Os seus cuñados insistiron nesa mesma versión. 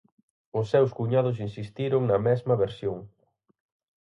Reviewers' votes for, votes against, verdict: 0, 4, rejected